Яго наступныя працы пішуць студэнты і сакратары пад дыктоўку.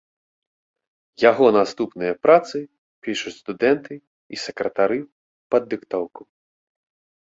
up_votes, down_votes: 3, 0